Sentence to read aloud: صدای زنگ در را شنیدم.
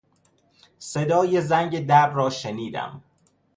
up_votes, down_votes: 2, 0